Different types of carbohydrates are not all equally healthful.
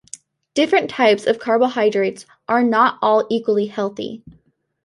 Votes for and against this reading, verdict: 1, 2, rejected